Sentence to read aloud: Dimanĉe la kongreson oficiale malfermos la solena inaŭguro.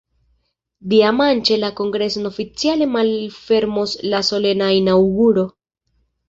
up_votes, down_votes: 0, 2